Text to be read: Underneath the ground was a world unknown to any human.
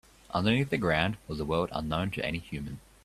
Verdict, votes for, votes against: accepted, 3, 0